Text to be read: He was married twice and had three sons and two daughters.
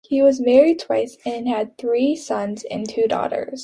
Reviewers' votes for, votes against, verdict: 2, 0, accepted